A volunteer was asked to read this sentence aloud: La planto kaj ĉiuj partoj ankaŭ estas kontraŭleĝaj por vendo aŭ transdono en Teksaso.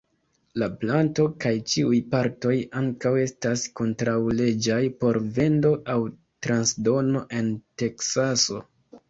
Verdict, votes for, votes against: accepted, 2, 1